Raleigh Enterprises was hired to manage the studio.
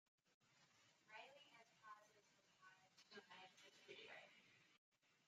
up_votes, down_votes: 0, 3